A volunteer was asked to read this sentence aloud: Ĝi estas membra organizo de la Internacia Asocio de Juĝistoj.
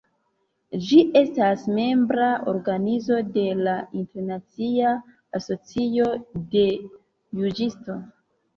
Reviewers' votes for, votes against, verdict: 0, 2, rejected